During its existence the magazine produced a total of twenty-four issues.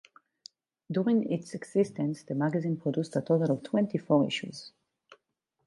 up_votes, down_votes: 4, 0